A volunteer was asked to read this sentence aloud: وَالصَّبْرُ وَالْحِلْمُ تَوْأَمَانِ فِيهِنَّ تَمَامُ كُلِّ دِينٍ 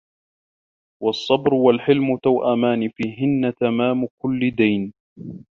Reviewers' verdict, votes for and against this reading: accepted, 2, 0